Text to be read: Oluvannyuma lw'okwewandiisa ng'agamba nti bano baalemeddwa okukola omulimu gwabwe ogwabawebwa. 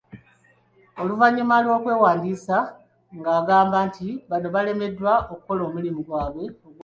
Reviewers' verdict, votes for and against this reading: rejected, 1, 4